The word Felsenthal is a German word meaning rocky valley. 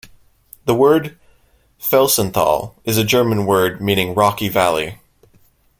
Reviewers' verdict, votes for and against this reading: rejected, 0, 2